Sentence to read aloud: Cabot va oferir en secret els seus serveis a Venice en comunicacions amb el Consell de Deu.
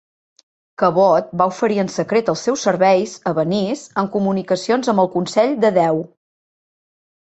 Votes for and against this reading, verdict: 2, 0, accepted